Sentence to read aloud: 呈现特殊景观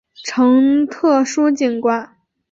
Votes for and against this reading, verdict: 8, 0, accepted